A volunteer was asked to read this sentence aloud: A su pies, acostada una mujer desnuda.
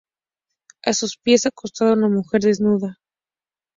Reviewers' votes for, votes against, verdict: 2, 0, accepted